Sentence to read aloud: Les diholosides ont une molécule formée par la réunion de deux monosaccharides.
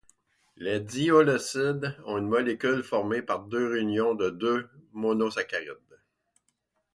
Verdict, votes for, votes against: rejected, 0, 2